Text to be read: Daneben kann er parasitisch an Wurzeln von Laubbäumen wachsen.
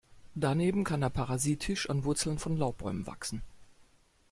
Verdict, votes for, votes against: accepted, 2, 0